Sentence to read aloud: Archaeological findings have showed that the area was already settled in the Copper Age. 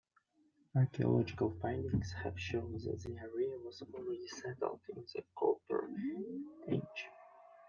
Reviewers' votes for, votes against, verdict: 1, 2, rejected